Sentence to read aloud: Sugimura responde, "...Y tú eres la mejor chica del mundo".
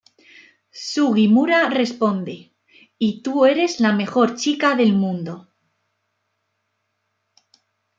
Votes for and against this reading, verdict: 2, 0, accepted